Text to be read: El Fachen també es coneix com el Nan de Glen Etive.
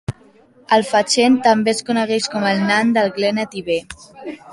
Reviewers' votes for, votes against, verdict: 2, 1, accepted